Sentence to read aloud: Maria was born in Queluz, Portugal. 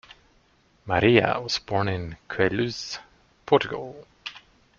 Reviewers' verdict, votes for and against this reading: rejected, 1, 2